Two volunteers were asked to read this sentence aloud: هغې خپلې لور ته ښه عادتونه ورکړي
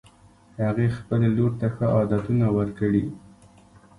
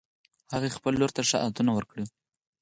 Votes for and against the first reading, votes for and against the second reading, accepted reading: 2, 1, 2, 4, first